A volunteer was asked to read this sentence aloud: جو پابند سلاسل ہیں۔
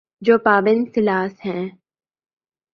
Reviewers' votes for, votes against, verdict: 1, 2, rejected